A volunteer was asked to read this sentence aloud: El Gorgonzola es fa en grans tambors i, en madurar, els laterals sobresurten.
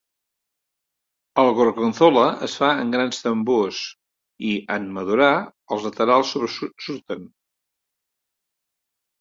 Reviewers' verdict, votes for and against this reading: rejected, 0, 2